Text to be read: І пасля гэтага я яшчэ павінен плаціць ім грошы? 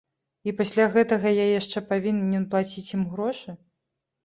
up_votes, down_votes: 1, 2